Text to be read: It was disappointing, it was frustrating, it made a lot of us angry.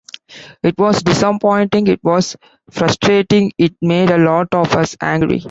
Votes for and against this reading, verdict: 3, 1, accepted